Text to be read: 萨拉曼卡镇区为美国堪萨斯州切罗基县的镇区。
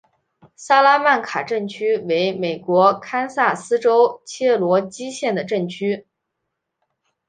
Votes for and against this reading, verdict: 5, 1, accepted